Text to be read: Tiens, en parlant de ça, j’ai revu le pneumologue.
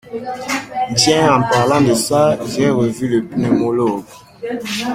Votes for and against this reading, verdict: 0, 2, rejected